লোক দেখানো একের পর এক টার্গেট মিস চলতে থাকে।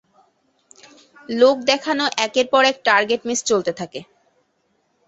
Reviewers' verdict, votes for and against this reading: accepted, 2, 0